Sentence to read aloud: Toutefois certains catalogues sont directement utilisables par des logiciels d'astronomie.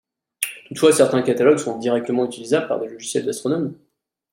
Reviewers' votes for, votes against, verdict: 2, 0, accepted